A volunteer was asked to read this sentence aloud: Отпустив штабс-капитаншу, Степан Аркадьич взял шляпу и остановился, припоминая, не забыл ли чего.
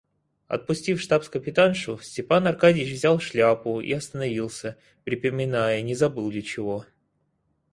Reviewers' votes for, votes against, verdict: 2, 4, rejected